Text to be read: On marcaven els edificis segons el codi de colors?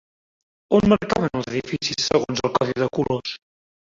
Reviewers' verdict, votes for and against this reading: rejected, 1, 3